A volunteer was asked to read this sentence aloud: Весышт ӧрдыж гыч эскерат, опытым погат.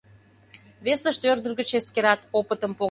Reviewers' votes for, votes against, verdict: 0, 2, rejected